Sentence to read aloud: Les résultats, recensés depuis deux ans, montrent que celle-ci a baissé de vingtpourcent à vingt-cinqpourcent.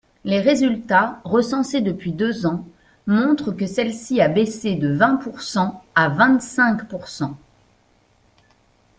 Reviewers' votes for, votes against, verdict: 2, 0, accepted